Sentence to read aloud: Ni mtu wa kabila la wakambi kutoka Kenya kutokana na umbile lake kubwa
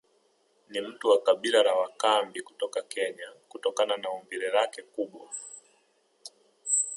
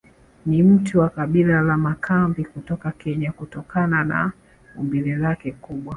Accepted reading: first